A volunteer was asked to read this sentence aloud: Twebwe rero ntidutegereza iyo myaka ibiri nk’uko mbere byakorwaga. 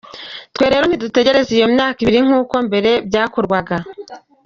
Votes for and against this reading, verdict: 2, 1, accepted